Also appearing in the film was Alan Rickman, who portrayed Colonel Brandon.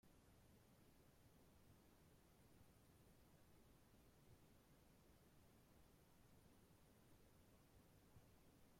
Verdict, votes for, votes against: rejected, 0, 2